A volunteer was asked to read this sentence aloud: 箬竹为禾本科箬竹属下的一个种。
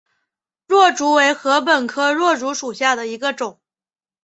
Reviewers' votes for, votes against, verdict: 3, 1, accepted